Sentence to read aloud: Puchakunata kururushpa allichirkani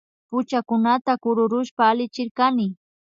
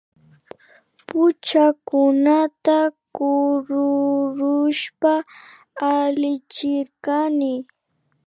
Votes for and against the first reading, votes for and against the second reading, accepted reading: 2, 0, 1, 2, first